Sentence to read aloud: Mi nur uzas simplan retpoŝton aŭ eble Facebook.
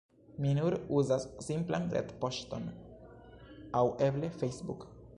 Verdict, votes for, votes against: rejected, 1, 2